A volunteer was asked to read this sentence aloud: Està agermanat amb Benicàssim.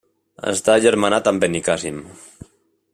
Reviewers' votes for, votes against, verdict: 1, 2, rejected